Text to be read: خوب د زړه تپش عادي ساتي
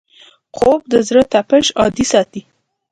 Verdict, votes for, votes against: accepted, 2, 0